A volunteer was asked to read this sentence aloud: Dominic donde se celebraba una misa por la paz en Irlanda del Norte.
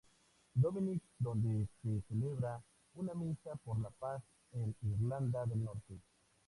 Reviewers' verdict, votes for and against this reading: rejected, 0, 2